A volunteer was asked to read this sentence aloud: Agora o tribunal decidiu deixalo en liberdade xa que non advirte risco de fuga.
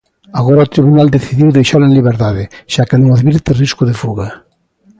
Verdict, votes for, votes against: rejected, 1, 2